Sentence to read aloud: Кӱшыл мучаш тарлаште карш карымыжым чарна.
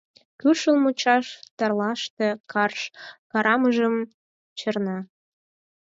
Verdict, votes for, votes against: rejected, 2, 4